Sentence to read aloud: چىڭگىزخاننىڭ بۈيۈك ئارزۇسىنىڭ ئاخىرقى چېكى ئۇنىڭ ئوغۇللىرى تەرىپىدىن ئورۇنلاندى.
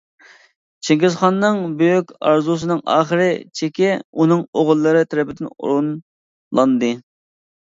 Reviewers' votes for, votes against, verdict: 0, 2, rejected